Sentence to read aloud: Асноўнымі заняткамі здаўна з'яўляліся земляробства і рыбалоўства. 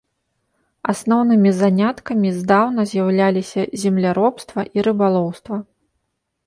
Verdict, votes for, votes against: rejected, 0, 2